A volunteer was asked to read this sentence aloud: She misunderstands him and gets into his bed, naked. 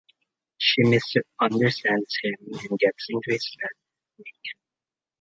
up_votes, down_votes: 2, 0